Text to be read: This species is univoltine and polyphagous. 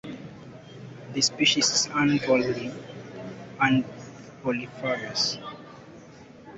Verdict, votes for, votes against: accepted, 2, 0